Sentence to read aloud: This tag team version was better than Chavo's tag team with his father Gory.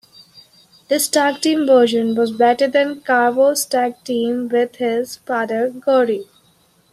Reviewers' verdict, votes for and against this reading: rejected, 0, 2